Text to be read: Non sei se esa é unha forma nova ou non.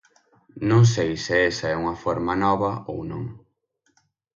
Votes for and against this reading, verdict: 6, 0, accepted